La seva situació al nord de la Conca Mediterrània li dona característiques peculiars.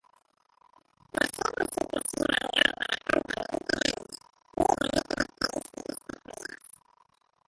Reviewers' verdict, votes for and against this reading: rejected, 0, 2